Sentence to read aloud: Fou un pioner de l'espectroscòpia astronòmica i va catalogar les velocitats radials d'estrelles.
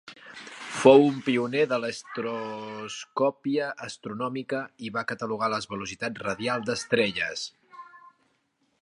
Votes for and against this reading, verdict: 0, 2, rejected